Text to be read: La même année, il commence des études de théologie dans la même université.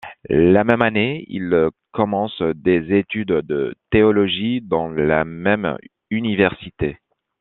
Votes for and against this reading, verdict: 2, 0, accepted